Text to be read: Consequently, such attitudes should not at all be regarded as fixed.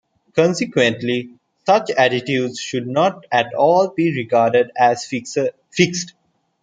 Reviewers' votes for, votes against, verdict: 0, 2, rejected